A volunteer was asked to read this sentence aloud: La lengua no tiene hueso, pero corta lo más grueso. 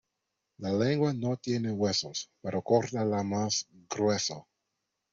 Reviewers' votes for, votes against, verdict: 0, 2, rejected